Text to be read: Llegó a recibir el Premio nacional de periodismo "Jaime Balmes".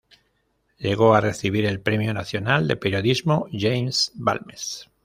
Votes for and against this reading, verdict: 0, 2, rejected